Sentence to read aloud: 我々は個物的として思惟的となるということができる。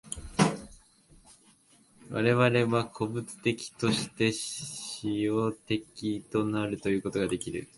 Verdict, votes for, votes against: rejected, 0, 2